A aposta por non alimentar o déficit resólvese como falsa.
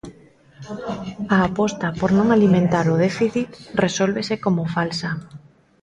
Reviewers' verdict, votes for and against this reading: accepted, 2, 0